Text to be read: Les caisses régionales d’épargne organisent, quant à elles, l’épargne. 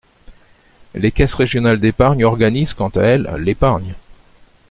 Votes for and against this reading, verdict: 2, 0, accepted